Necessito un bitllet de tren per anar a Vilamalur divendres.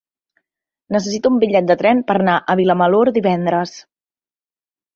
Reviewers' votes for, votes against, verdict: 0, 2, rejected